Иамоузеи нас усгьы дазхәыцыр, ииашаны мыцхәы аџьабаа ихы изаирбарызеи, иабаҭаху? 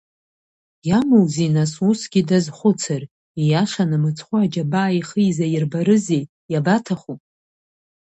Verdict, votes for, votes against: rejected, 0, 2